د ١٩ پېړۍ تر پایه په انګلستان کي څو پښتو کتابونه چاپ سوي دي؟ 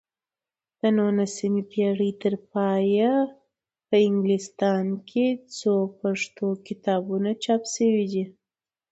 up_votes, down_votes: 0, 2